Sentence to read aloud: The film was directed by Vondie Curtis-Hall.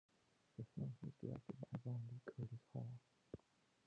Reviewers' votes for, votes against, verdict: 0, 2, rejected